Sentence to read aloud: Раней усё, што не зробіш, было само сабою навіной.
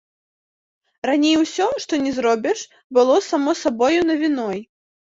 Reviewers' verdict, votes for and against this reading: accepted, 2, 0